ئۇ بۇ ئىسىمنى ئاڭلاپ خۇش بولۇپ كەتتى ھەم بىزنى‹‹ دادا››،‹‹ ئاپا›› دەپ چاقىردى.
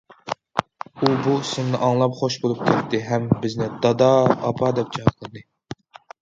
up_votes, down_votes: 1, 2